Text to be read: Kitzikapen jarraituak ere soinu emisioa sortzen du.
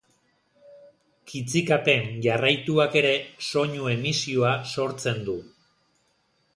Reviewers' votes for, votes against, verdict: 2, 0, accepted